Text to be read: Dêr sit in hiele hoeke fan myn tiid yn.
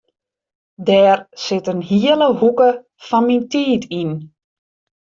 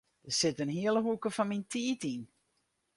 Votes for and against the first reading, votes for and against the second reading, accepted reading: 2, 0, 2, 2, first